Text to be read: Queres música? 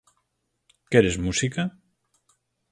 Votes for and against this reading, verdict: 4, 0, accepted